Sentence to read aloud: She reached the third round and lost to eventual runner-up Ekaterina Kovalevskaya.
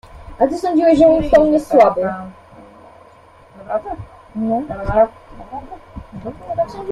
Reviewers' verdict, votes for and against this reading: rejected, 0, 2